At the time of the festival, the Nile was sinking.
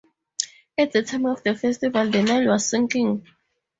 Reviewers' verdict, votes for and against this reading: accepted, 4, 0